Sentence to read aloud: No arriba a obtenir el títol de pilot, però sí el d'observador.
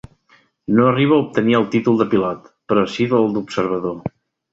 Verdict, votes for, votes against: accepted, 2, 0